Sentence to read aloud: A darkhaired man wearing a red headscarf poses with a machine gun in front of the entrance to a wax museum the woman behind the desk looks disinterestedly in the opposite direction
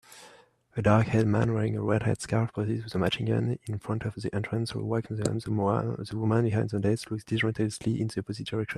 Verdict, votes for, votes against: rejected, 1, 2